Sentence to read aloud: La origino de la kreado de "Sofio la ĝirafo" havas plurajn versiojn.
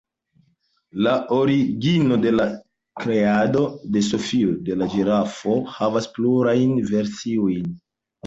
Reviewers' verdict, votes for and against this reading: rejected, 1, 2